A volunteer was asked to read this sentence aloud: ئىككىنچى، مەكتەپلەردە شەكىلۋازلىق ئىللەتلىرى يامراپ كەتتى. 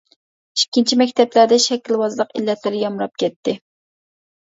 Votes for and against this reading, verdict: 2, 0, accepted